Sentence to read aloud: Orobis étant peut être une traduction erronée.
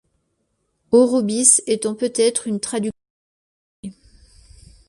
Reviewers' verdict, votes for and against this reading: rejected, 1, 2